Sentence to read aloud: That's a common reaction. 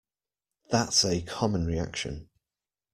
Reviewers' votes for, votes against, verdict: 2, 0, accepted